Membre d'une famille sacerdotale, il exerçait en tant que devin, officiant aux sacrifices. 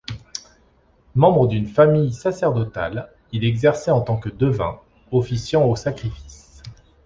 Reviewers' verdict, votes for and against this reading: accepted, 2, 0